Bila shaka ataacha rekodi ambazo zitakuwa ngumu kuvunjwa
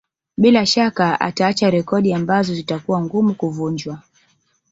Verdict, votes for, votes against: rejected, 1, 2